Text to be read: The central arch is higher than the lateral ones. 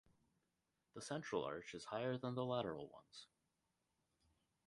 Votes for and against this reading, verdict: 2, 2, rejected